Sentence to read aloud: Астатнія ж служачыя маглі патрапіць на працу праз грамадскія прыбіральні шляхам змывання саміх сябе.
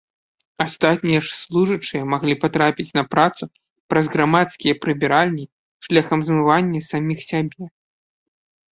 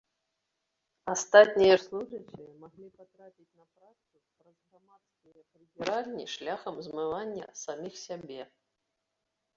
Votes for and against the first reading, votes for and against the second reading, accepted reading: 2, 0, 0, 2, first